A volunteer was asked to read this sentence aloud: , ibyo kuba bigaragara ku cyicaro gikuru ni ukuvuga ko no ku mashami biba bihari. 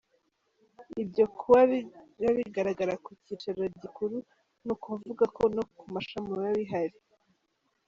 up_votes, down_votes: 1, 2